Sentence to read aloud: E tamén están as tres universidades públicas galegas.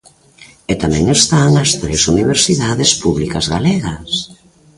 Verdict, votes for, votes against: accepted, 2, 0